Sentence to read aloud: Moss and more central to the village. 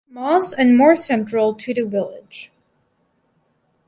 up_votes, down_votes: 0, 2